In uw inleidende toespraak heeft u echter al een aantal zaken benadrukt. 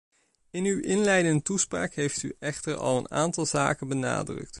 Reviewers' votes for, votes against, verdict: 1, 2, rejected